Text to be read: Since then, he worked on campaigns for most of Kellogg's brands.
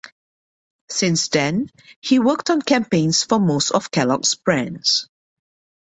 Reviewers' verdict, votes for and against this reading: accepted, 2, 0